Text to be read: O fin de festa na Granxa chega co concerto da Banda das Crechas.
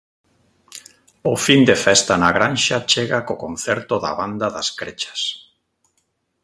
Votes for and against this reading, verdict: 2, 0, accepted